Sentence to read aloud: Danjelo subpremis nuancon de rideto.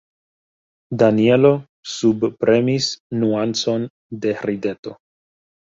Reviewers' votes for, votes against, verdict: 1, 2, rejected